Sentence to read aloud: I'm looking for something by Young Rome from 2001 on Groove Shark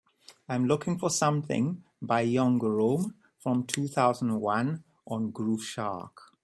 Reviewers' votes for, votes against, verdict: 0, 2, rejected